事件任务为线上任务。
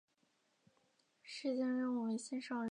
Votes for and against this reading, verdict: 2, 4, rejected